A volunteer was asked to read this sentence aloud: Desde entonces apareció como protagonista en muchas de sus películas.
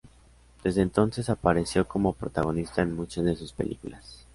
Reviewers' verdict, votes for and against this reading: accepted, 2, 0